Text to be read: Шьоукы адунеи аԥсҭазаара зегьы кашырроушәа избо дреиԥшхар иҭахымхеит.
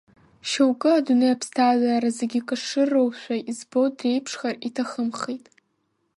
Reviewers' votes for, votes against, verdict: 0, 2, rejected